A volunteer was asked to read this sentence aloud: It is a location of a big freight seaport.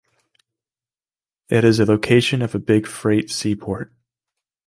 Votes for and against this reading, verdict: 2, 0, accepted